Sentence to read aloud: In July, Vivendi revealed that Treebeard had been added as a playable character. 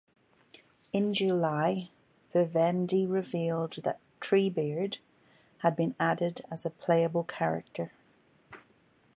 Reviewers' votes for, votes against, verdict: 2, 0, accepted